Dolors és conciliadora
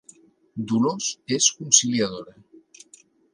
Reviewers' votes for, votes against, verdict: 5, 0, accepted